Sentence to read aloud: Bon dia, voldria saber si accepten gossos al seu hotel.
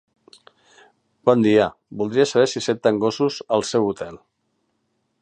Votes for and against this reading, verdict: 2, 1, accepted